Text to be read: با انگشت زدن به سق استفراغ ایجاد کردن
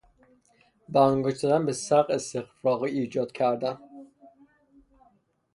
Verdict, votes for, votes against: rejected, 0, 3